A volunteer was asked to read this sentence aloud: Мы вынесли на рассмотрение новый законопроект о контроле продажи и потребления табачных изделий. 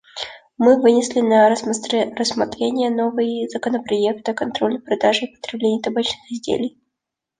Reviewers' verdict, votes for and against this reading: rejected, 1, 2